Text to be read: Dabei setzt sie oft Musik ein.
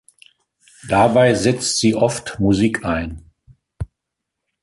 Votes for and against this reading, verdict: 2, 0, accepted